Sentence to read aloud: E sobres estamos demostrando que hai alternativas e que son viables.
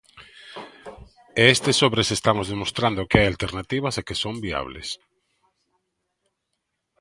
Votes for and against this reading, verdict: 0, 2, rejected